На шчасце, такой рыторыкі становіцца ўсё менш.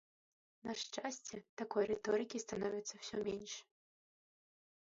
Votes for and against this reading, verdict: 0, 2, rejected